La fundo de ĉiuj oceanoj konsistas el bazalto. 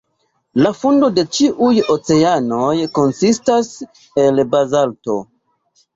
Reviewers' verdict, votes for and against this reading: accepted, 2, 0